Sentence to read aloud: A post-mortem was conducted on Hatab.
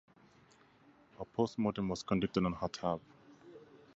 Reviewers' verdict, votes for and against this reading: accepted, 2, 0